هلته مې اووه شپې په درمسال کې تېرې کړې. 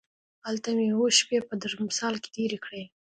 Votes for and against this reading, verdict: 2, 0, accepted